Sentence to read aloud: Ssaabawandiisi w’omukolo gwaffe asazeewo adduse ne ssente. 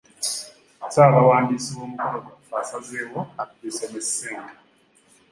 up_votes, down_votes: 2, 0